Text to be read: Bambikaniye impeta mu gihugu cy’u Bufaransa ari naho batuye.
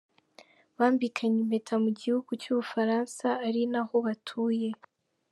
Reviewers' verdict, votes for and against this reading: accepted, 2, 0